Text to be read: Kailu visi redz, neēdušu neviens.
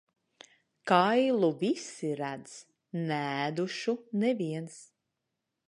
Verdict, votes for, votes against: accepted, 2, 0